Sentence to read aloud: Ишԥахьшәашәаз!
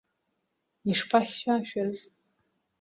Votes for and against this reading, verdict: 2, 0, accepted